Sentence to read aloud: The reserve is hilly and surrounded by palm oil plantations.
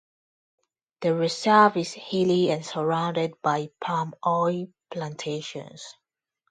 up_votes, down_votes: 2, 0